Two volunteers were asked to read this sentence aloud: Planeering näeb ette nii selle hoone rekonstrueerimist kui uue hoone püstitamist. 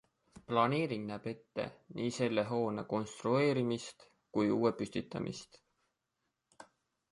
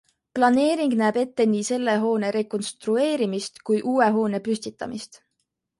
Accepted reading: second